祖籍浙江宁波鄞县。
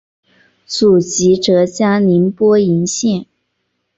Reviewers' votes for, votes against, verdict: 2, 1, accepted